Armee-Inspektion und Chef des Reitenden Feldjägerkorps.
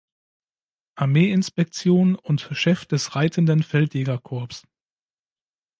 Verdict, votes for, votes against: accepted, 2, 1